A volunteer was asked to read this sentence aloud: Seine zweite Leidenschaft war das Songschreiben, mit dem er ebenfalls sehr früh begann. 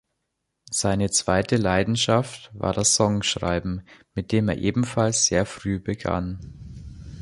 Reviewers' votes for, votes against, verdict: 2, 0, accepted